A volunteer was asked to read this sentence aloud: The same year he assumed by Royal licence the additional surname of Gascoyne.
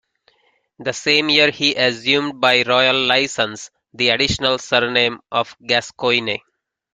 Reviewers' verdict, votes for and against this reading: rejected, 0, 2